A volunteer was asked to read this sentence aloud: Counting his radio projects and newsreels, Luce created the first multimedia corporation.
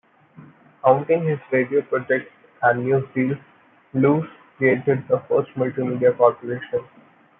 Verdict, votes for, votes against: accepted, 2, 1